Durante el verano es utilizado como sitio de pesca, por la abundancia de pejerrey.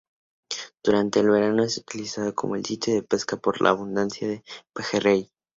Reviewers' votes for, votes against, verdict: 0, 2, rejected